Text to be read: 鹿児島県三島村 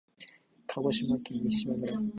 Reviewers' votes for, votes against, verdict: 2, 1, accepted